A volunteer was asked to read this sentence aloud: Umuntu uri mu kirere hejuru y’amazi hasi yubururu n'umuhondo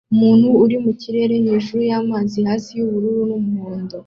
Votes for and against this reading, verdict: 2, 0, accepted